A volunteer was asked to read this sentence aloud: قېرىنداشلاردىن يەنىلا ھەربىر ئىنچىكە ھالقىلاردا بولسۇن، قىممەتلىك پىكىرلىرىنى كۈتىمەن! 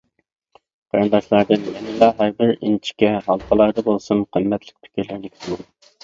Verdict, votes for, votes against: rejected, 0, 2